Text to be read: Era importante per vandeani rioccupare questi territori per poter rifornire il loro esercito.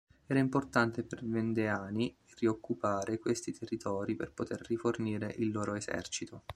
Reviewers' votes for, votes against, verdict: 2, 3, rejected